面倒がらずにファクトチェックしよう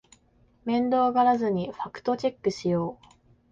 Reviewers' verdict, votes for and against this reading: accepted, 5, 0